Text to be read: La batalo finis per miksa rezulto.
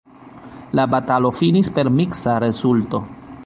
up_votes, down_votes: 0, 2